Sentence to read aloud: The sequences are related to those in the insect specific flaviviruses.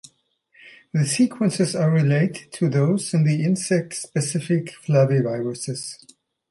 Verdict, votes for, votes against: accepted, 2, 0